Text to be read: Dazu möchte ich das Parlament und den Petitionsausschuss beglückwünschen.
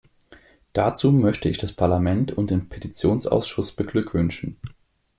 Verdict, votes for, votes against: accepted, 2, 0